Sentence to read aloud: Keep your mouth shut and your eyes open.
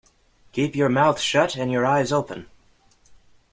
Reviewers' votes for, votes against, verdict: 2, 0, accepted